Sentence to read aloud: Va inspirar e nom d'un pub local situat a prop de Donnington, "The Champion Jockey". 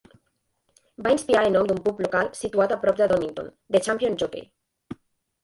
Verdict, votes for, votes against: rejected, 1, 2